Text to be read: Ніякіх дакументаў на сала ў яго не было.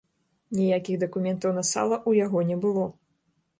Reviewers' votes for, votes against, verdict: 1, 2, rejected